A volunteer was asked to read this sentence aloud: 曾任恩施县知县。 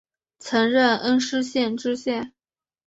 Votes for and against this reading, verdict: 2, 0, accepted